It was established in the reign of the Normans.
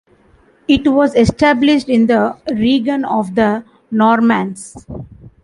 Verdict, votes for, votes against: accepted, 2, 0